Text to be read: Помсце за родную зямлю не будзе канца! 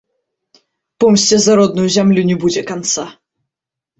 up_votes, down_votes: 2, 0